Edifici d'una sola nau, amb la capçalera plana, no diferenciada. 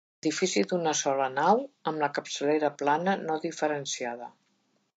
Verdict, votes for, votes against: rejected, 0, 2